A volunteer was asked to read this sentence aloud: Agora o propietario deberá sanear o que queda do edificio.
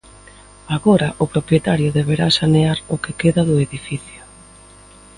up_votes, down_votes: 2, 0